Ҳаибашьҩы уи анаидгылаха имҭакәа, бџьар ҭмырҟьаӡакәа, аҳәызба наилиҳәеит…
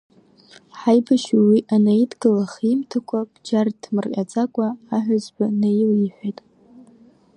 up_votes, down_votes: 2, 0